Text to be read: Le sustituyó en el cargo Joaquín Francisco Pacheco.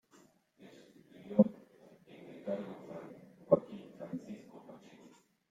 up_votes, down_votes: 0, 2